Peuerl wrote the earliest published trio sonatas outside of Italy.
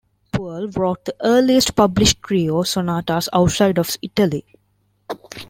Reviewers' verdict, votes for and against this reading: rejected, 1, 2